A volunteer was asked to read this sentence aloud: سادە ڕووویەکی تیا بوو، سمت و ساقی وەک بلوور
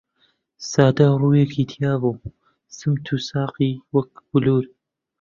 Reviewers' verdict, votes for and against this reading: rejected, 0, 2